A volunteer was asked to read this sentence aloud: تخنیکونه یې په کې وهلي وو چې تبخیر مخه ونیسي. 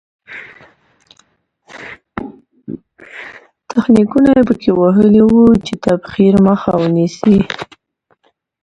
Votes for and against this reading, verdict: 1, 2, rejected